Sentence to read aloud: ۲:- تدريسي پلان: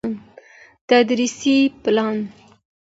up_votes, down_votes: 0, 2